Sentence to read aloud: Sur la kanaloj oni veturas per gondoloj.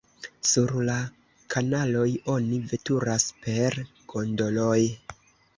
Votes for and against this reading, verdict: 1, 2, rejected